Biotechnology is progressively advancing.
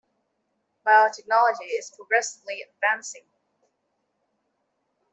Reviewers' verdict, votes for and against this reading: accepted, 2, 0